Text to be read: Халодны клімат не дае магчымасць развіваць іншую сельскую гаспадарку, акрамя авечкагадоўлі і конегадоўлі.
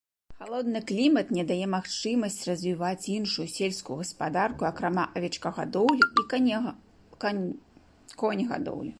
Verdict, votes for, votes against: rejected, 1, 2